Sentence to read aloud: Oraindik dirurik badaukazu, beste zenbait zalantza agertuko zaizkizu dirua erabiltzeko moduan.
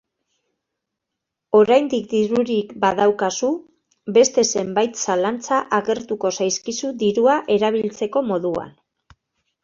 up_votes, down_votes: 2, 0